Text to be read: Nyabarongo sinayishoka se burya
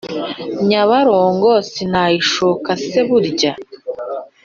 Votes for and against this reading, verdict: 3, 0, accepted